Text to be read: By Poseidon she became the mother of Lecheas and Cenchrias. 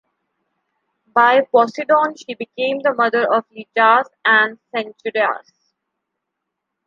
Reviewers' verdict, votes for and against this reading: rejected, 1, 2